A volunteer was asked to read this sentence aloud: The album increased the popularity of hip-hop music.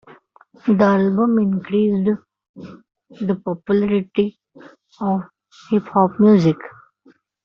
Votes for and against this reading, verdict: 0, 2, rejected